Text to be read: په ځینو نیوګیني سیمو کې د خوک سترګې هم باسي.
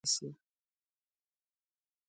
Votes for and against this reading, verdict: 1, 2, rejected